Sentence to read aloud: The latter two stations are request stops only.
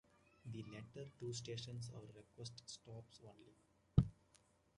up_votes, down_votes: 1, 2